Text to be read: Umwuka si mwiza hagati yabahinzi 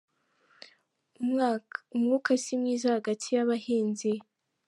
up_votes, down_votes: 1, 2